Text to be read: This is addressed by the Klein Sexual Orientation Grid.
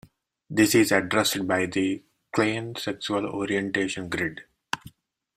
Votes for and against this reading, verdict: 2, 0, accepted